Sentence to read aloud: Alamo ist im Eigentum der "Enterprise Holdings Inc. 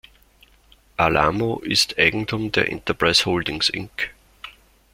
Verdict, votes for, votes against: rejected, 0, 2